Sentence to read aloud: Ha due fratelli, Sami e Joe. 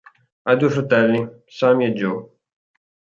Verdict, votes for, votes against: accepted, 4, 0